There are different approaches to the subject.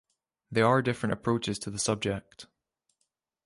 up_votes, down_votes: 2, 0